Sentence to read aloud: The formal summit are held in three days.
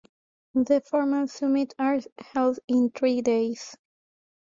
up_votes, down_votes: 2, 1